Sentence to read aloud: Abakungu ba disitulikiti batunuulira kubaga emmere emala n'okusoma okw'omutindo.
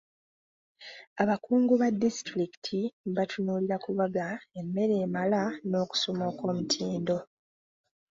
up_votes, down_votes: 2, 0